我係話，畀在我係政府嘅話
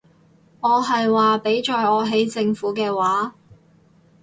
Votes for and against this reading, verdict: 0, 6, rejected